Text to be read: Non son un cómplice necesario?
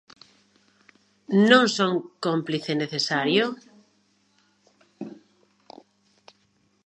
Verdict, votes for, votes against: rejected, 0, 2